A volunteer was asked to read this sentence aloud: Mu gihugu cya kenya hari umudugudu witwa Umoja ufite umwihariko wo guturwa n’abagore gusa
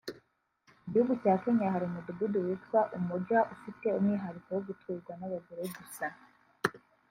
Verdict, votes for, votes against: rejected, 1, 2